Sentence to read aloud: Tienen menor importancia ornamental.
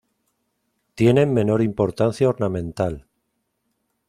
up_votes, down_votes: 2, 0